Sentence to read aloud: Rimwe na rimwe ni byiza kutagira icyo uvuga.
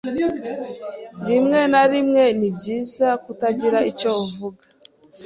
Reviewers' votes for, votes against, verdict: 2, 0, accepted